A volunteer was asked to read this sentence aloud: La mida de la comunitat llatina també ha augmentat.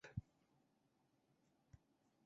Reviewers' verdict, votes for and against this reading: rejected, 0, 4